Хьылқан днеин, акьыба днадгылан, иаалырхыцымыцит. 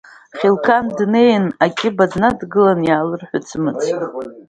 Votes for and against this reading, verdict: 0, 2, rejected